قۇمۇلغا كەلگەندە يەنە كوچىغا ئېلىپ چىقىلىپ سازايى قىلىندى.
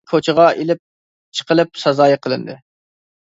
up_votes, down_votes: 0, 2